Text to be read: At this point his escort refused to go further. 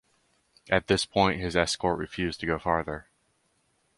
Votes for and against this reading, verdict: 0, 2, rejected